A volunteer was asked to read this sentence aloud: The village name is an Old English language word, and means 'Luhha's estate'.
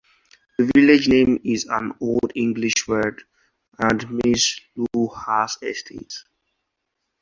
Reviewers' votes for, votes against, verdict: 2, 0, accepted